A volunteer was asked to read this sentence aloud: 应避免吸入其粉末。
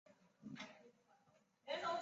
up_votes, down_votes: 2, 5